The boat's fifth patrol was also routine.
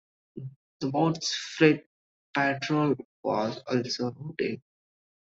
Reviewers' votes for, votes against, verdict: 0, 2, rejected